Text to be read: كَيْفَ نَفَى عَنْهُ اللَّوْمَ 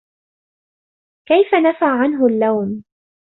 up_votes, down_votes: 2, 0